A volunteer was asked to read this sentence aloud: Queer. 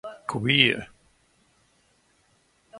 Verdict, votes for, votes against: accepted, 2, 0